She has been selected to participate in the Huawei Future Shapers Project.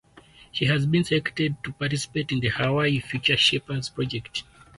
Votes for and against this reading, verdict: 4, 0, accepted